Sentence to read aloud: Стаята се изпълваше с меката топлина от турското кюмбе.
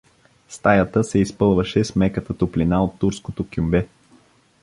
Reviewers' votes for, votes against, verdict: 2, 0, accepted